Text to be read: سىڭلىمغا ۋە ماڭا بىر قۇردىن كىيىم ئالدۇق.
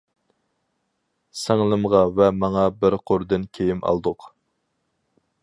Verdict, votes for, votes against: accepted, 4, 0